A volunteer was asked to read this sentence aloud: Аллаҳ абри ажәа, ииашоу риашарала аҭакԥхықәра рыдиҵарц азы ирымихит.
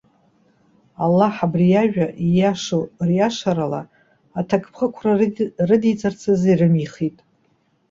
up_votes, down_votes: 1, 2